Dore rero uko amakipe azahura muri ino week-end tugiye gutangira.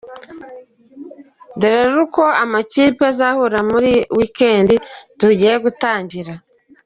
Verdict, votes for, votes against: accepted, 2, 1